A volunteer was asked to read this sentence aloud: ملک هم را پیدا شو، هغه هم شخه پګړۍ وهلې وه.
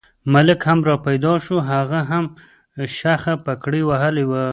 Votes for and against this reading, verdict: 3, 0, accepted